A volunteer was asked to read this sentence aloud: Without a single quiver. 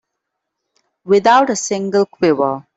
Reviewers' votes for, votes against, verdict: 2, 0, accepted